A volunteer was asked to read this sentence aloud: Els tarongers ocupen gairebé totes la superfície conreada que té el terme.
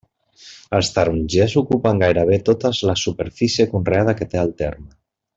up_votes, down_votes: 2, 1